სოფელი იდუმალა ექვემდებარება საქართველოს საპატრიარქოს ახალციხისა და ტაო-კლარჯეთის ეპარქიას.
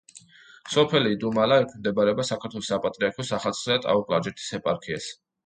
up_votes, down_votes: 2, 0